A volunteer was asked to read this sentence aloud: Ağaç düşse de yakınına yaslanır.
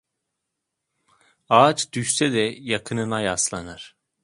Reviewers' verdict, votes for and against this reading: accepted, 2, 0